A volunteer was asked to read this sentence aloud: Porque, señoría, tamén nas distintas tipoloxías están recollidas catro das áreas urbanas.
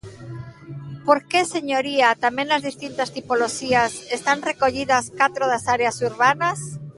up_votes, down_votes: 2, 1